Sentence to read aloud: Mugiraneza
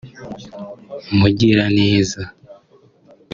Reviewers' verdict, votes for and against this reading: rejected, 1, 2